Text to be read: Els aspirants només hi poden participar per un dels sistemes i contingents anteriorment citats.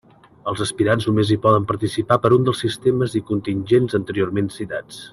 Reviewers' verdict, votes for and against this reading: accepted, 2, 0